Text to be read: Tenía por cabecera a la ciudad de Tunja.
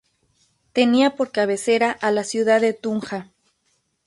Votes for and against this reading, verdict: 2, 0, accepted